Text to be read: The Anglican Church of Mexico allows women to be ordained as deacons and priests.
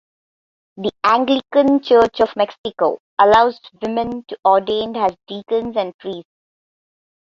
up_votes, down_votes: 1, 2